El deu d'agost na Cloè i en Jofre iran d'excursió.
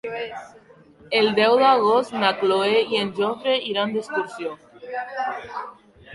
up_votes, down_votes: 1, 2